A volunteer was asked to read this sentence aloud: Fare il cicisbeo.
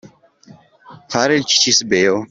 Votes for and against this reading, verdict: 2, 0, accepted